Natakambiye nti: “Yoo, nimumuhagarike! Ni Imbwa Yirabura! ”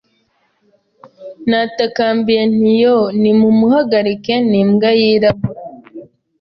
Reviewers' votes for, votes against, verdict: 1, 2, rejected